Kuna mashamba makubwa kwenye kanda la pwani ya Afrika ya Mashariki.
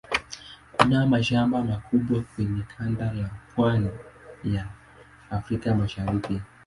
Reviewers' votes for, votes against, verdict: 1, 2, rejected